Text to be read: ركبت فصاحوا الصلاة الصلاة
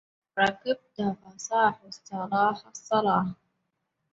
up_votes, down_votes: 0, 2